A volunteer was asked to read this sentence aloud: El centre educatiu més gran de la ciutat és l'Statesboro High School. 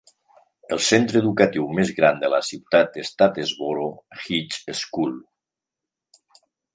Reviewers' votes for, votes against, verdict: 1, 2, rejected